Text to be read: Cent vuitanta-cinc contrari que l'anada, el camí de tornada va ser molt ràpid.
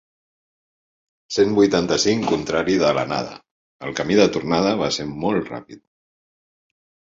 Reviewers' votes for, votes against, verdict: 1, 2, rejected